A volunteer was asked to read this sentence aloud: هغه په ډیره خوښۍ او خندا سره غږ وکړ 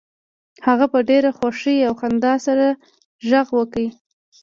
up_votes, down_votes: 0, 2